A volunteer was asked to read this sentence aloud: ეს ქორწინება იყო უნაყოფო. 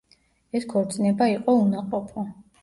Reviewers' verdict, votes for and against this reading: accepted, 2, 0